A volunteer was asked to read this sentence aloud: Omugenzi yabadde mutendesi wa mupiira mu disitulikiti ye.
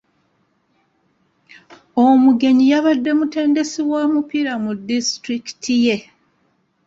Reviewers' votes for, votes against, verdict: 0, 2, rejected